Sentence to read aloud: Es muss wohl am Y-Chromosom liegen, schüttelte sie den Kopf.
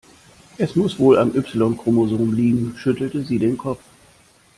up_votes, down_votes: 2, 0